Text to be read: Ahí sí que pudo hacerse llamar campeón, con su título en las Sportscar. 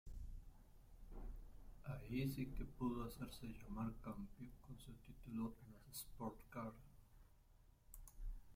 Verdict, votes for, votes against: rejected, 1, 3